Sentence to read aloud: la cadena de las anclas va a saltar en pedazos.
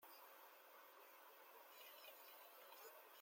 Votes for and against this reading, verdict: 0, 2, rejected